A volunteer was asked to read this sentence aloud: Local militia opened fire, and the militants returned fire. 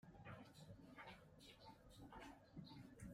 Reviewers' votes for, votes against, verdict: 0, 2, rejected